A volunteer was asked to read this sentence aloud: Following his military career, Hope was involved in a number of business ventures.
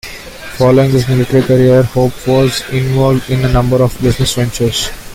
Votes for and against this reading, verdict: 0, 2, rejected